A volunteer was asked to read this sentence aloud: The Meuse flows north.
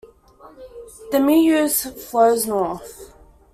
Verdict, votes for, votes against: rejected, 0, 2